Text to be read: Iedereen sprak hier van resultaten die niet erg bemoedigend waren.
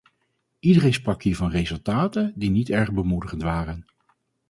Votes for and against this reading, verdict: 4, 0, accepted